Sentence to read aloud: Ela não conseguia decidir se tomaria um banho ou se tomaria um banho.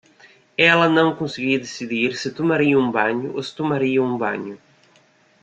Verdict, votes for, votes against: accepted, 2, 0